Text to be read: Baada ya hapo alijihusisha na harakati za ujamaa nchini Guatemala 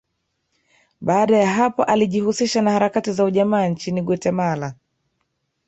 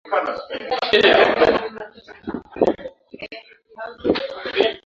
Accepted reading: first